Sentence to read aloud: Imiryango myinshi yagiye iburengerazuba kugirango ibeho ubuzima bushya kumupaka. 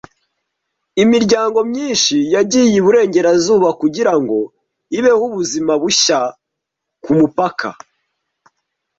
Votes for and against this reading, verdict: 2, 0, accepted